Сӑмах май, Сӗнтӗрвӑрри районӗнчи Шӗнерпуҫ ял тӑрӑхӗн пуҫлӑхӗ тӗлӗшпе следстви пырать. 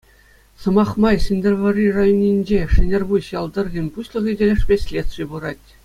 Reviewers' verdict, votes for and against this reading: accepted, 2, 0